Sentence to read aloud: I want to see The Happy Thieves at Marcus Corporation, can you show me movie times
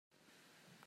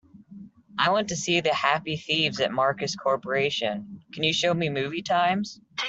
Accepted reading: second